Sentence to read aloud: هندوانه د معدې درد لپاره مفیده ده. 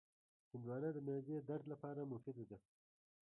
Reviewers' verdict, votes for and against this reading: rejected, 1, 2